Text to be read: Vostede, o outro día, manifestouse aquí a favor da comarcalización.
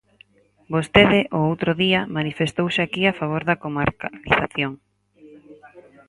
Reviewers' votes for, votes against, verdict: 2, 4, rejected